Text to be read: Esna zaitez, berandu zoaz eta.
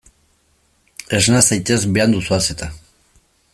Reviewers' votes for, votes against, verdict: 1, 2, rejected